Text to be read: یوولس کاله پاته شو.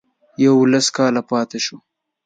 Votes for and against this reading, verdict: 5, 0, accepted